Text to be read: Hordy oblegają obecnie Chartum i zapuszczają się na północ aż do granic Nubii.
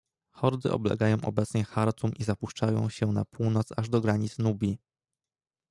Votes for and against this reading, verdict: 2, 0, accepted